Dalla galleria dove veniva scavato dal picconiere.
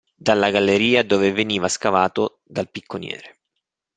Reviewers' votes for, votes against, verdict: 2, 0, accepted